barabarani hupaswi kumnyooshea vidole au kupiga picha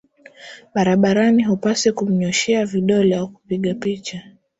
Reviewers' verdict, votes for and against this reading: accepted, 3, 0